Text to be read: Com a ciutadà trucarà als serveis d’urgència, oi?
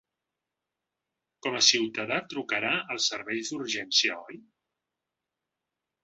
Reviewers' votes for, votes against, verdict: 2, 0, accepted